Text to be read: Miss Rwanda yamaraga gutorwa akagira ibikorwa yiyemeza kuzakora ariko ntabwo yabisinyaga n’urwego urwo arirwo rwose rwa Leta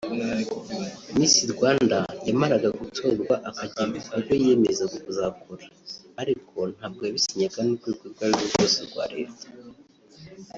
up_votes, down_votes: 0, 2